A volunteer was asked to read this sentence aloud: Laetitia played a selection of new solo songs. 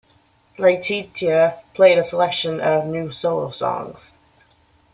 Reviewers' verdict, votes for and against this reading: rejected, 1, 2